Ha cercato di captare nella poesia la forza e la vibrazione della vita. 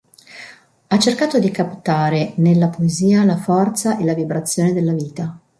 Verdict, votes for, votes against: accepted, 2, 0